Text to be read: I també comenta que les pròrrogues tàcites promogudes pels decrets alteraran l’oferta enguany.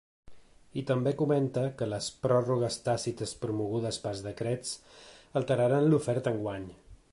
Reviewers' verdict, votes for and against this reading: accepted, 2, 0